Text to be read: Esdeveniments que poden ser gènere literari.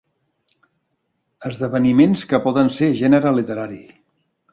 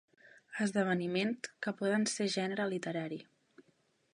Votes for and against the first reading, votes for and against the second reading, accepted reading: 3, 0, 0, 3, first